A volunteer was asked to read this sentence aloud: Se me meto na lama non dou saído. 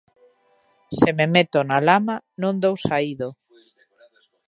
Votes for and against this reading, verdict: 2, 1, accepted